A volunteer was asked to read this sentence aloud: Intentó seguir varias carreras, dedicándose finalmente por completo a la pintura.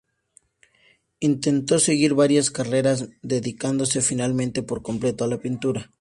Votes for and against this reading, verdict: 4, 0, accepted